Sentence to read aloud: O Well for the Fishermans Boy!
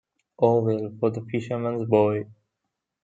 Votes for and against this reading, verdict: 1, 2, rejected